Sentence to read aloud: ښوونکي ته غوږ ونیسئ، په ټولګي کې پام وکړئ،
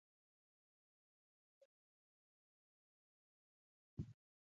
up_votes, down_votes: 0, 2